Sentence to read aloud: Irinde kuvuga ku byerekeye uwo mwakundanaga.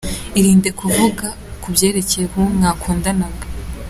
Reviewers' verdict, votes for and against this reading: accepted, 2, 0